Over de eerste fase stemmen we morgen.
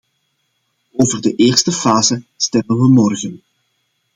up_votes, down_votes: 2, 0